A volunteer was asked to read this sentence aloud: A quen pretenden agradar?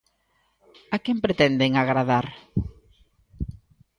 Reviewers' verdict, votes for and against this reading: accepted, 2, 0